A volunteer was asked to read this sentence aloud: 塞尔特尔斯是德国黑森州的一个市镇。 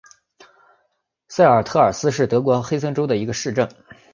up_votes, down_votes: 3, 1